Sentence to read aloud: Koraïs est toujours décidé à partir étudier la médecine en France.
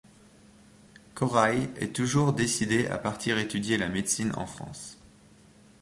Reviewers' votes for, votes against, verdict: 2, 0, accepted